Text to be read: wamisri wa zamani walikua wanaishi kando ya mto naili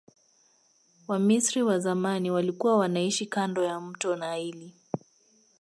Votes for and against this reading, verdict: 2, 0, accepted